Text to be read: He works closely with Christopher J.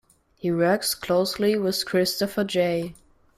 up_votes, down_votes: 2, 0